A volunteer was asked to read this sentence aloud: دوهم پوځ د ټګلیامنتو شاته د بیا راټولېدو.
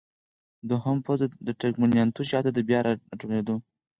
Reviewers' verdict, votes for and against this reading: rejected, 0, 4